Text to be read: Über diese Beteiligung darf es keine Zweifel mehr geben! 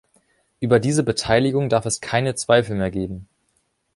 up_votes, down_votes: 2, 0